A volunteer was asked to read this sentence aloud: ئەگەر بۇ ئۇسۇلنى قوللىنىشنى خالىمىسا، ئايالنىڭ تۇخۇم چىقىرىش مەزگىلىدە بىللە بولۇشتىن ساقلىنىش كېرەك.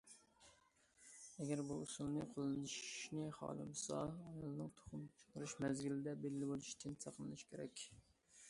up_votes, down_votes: 0, 2